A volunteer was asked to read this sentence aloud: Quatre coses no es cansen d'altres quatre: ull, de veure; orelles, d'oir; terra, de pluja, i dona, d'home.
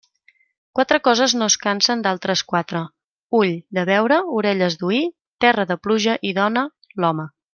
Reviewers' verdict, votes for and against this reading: rejected, 1, 2